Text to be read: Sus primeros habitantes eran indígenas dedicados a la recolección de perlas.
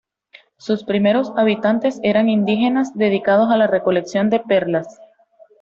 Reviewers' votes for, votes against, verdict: 2, 0, accepted